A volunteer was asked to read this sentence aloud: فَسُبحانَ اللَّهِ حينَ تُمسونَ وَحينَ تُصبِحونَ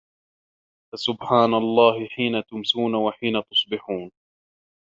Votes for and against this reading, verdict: 0, 2, rejected